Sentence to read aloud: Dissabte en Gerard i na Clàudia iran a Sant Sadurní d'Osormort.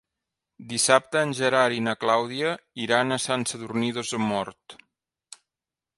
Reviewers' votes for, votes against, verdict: 1, 2, rejected